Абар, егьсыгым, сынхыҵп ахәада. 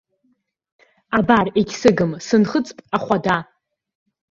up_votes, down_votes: 2, 0